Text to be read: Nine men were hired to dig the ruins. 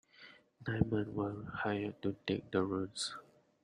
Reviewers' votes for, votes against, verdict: 0, 2, rejected